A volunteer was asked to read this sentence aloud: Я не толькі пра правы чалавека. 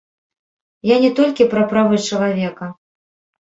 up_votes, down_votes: 0, 2